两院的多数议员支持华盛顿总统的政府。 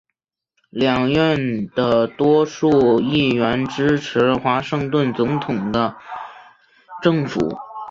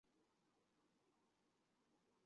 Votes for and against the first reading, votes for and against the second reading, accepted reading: 5, 0, 1, 4, first